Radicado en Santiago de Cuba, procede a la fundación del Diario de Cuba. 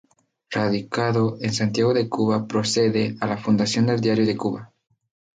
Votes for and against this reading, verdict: 2, 0, accepted